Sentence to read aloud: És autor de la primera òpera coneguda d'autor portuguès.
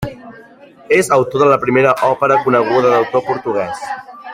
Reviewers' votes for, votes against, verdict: 2, 1, accepted